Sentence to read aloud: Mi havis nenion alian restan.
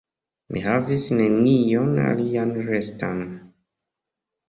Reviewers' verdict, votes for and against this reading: accepted, 2, 0